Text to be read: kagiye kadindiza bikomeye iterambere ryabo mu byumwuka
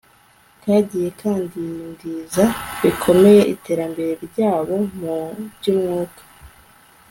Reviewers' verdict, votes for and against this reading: accepted, 2, 0